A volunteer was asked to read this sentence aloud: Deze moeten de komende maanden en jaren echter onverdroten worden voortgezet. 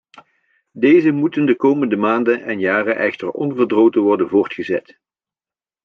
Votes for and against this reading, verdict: 2, 0, accepted